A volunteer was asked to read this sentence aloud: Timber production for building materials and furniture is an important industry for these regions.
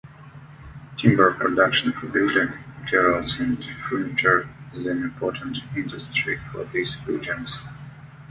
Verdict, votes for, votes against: accepted, 2, 0